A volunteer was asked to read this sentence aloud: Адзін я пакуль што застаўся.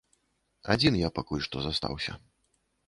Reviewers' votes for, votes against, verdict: 2, 0, accepted